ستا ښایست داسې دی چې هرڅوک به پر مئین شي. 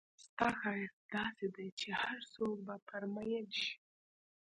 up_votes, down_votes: 2, 0